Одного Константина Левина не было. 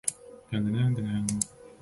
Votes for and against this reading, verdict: 0, 2, rejected